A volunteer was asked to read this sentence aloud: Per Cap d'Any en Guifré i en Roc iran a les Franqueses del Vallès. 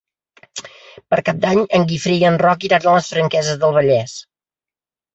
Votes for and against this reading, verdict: 3, 0, accepted